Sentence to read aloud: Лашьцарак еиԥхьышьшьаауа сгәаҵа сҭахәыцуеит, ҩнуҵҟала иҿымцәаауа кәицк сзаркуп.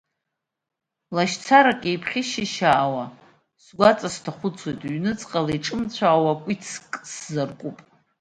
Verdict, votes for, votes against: rejected, 1, 2